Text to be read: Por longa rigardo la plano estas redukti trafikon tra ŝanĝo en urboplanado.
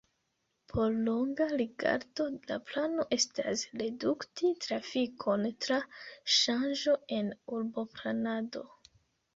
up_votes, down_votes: 0, 2